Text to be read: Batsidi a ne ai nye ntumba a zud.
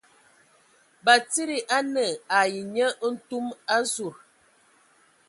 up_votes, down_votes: 0, 2